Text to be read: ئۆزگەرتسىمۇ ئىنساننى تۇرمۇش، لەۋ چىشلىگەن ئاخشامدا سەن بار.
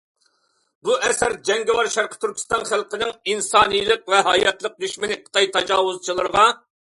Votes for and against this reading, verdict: 0, 2, rejected